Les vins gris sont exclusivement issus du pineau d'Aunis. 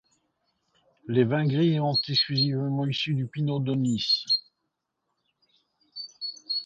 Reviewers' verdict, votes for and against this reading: rejected, 1, 3